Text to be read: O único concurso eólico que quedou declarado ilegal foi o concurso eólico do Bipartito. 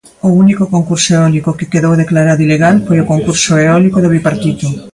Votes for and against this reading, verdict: 0, 2, rejected